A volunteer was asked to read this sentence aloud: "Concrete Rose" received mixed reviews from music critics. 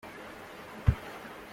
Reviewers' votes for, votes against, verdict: 0, 2, rejected